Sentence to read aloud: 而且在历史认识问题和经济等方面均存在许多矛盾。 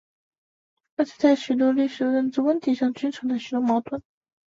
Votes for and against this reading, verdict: 0, 3, rejected